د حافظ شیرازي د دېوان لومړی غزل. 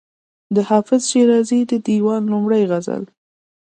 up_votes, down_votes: 2, 0